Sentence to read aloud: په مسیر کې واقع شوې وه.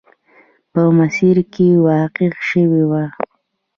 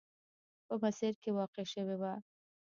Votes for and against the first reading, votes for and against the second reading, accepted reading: 2, 0, 1, 2, first